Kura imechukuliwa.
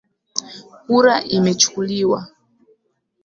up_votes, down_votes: 0, 2